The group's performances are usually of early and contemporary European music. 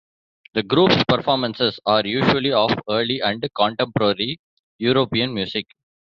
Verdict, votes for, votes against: accepted, 2, 0